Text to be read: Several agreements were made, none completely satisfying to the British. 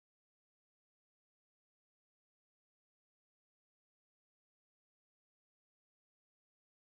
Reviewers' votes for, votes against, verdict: 0, 2, rejected